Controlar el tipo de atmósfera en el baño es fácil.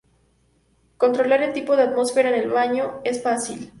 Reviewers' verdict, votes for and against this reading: accepted, 2, 0